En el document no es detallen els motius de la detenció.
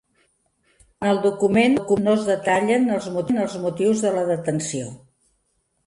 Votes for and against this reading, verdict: 0, 2, rejected